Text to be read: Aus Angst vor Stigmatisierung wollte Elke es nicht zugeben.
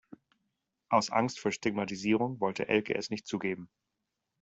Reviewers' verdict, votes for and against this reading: accepted, 2, 0